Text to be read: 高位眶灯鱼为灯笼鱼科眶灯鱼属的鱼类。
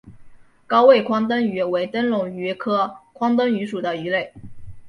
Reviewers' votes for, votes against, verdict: 2, 0, accepted